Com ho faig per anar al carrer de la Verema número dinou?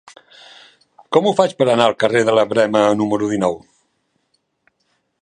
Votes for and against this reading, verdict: 3, 0, accepted